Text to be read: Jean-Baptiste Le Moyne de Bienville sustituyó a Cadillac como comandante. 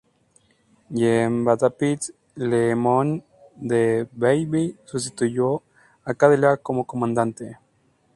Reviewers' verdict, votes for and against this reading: accepted, 2, 0